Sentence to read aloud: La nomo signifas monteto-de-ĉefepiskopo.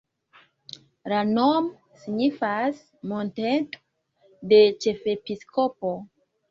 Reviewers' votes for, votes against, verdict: 1, 2, rejected